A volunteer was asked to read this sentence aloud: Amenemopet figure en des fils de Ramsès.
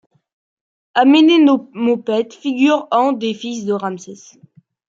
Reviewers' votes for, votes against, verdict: 0, 2, rejected